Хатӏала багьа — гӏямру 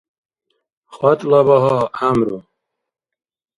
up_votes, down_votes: 1, 2